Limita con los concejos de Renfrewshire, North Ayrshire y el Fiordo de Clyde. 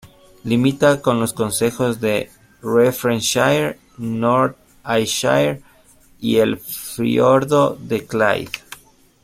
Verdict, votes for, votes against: accepted, 2, 1